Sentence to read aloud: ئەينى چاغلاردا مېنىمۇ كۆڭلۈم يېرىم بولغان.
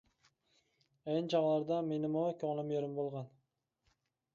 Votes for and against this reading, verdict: 1, 2, rejected